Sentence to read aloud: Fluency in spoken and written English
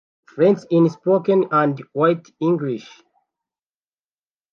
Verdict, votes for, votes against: rejected, 0, 2